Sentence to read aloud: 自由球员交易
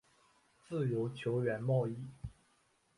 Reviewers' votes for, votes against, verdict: 1, 3, rejected